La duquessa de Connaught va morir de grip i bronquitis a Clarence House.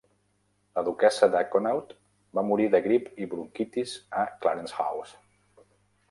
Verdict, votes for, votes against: accepted, 3, 0